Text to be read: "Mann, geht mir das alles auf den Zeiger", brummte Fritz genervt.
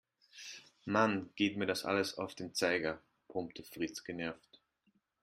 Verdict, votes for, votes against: accepted, 2, 0